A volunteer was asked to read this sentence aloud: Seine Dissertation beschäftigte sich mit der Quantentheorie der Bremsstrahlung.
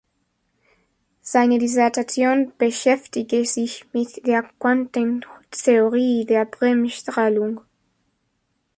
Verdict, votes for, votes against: rejected, 0, 2